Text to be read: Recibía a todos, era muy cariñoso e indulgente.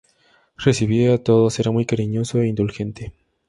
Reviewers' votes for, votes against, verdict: 2, 0, accepted